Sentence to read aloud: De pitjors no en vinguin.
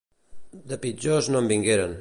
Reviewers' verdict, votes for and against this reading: rejected, 0, 2